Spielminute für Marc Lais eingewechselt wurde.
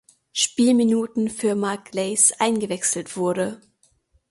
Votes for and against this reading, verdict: 0, 2, rejected